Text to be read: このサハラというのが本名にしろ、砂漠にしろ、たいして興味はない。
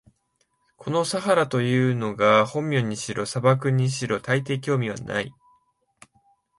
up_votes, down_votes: 0, 2